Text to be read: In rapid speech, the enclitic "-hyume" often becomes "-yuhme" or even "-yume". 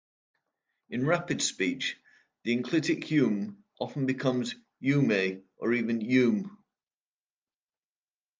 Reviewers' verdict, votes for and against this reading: accepted, 2, 1